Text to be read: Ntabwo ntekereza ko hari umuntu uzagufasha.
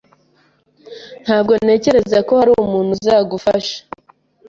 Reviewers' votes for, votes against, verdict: 2, 0, accepted